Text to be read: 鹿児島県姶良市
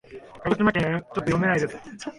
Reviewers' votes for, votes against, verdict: 0, 2, rejected